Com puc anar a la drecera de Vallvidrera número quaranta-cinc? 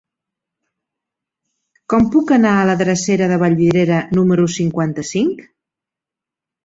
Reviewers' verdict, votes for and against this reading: rejected, 0, 2